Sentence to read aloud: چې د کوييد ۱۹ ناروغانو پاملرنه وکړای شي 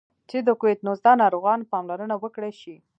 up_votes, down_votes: 0, 2